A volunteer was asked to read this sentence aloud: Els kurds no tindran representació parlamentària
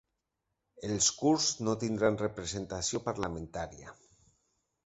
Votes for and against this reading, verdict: 2, 0, accepted